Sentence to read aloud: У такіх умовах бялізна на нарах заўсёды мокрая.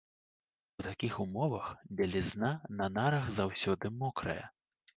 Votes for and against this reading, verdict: 1, 2, rejected